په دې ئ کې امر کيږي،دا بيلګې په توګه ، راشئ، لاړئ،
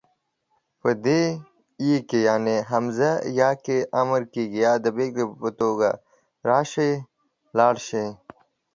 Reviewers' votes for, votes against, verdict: 1, 2, rejected